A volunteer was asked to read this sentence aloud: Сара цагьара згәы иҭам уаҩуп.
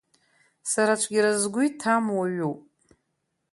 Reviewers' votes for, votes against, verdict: 1, 2, rejected